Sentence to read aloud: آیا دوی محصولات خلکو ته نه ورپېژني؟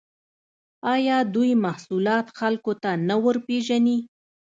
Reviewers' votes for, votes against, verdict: 2, 0, accepted